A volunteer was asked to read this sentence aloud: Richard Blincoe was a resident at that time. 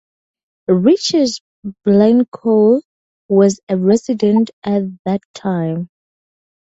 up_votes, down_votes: 2, 0